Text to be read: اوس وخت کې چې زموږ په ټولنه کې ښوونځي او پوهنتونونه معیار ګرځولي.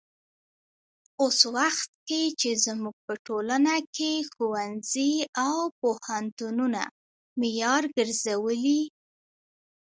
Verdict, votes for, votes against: accepted, 2, 0